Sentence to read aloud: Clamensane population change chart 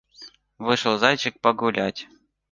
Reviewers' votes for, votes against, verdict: 1, 2, rejected